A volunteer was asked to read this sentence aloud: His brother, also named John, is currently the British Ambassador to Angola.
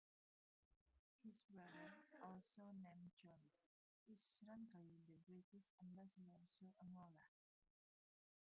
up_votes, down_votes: 0, 2